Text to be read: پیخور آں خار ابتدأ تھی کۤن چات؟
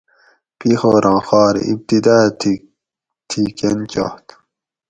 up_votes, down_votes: 2, 2